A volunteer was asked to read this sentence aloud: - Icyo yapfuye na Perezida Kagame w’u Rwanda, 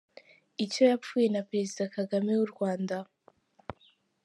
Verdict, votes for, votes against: accepted, 2, 0